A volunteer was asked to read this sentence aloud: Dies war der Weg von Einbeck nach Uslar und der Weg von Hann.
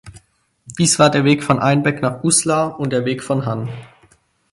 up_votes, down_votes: 4, 0